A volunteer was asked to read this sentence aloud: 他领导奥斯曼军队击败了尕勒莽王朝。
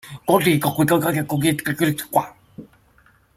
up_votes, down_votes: 0, 2